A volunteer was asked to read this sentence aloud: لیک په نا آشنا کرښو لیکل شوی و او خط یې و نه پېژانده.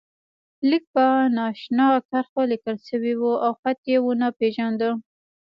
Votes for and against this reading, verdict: 1, 2, rejected